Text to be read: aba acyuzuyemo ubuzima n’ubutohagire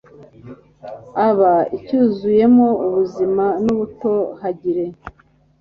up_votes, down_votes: 2, 0